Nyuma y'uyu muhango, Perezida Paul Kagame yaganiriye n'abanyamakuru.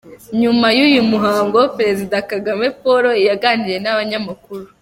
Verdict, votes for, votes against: rejected, 1, 2